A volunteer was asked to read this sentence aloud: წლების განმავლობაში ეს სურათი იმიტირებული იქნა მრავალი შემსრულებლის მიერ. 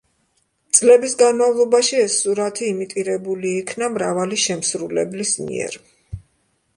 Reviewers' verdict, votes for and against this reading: accepted, 2, 0